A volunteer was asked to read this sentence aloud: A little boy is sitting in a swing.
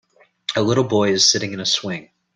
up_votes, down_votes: 2, 0